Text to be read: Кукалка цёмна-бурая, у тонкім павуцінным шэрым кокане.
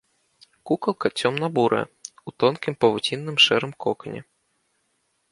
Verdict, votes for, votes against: accepted, 2, 0